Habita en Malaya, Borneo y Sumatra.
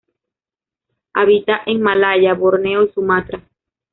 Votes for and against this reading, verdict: 0, 2, rejected